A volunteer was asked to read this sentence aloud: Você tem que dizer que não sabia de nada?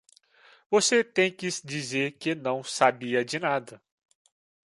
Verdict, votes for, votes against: rejected, 1, 2